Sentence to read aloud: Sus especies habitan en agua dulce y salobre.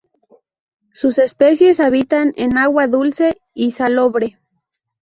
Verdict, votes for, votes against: accepted, 2, 0